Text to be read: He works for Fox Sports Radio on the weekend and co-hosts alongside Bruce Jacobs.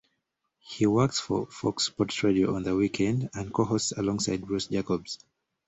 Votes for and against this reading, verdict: 2, 0, accepted